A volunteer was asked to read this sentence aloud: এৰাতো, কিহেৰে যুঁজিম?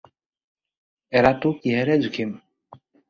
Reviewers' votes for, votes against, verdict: 2, 4, rejected